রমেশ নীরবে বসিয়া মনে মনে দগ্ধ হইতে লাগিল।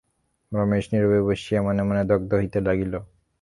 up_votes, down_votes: 0, 3